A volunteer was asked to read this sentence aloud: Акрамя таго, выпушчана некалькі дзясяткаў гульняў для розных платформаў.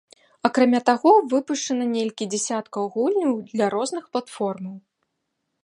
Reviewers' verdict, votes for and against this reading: rejected, 0, 2